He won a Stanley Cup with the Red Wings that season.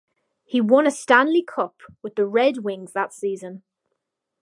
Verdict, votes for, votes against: accepted, 4, 0